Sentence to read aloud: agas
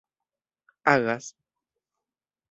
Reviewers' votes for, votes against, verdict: 1, 2, rejected